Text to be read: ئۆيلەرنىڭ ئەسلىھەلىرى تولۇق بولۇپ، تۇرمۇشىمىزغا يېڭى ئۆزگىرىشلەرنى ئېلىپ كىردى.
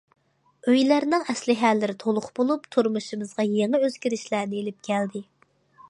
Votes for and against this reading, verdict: 0, 2, rejected